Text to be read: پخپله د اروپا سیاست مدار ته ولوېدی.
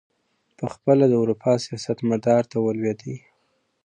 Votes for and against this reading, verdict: 2, 0, accepted